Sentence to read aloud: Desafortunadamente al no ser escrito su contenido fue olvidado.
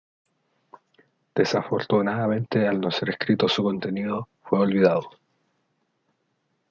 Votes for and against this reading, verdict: 2, 0, accepted